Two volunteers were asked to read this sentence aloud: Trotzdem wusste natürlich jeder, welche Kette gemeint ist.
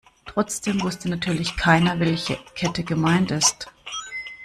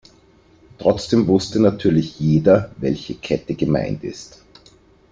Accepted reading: second